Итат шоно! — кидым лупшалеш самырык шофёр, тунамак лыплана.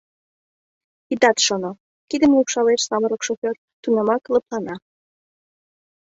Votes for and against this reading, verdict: 2, 0, accepted